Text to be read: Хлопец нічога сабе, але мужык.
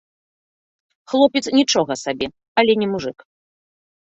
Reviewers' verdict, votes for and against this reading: rejected, 0, 2